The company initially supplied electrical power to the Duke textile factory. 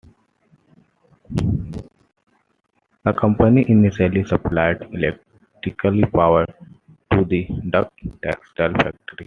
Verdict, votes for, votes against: rejected, 0, 2